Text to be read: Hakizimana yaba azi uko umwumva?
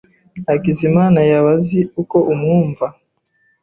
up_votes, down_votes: 2, 0